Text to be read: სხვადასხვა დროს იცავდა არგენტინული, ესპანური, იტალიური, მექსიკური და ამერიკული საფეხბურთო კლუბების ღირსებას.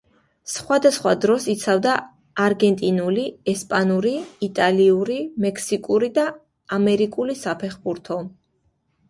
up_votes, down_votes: 0, 2